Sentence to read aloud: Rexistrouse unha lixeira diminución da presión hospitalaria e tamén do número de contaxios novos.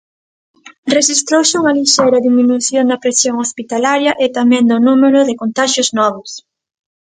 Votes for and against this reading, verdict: 2, 0, accepted